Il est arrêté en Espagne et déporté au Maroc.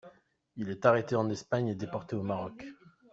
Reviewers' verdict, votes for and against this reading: accepted, 2, 0